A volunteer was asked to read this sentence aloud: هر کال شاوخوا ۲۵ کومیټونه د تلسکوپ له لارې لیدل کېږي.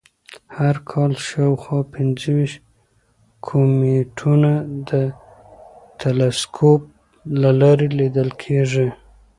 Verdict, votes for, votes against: rejected, 0, 2